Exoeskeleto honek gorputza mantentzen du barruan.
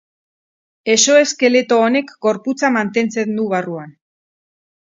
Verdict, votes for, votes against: accepted, 6, 0